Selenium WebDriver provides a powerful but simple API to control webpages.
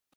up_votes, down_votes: 0, 2